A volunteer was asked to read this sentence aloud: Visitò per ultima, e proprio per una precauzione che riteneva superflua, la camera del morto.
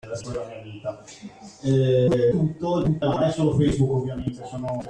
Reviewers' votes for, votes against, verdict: 0, 2, rejected